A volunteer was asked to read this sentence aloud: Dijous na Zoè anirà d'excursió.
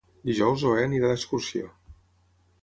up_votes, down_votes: 3, 6